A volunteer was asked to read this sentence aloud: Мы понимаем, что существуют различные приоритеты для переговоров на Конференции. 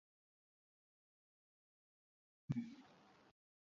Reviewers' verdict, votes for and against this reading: rejected, 0, 2